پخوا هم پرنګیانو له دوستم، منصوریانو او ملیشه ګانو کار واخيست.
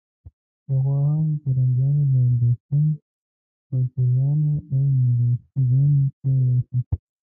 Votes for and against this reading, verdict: 0, 2, rejected